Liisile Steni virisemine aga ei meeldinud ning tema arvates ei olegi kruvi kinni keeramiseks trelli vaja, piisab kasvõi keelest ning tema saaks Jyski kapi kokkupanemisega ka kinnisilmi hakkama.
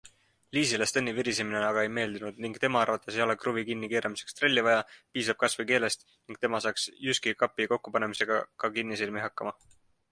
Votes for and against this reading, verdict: 2, 0, accepted